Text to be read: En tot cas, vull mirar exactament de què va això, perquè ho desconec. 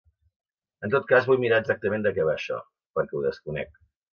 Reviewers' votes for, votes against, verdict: 2, 1, accepted